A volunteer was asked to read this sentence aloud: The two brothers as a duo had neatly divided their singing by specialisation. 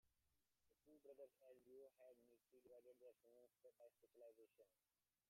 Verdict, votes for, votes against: rejected, 0, 2